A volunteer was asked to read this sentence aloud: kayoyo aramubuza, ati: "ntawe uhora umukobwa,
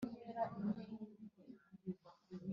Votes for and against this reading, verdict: 0, 2, rejected